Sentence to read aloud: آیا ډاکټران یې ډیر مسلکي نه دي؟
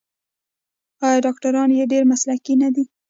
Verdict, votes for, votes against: rejected, 1, 2